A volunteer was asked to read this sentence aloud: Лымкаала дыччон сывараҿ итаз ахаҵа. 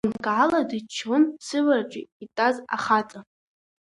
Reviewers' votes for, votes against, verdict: 2, 0, accepted